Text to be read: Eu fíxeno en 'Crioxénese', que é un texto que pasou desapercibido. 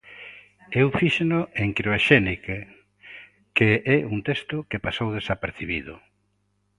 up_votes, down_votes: 0, 2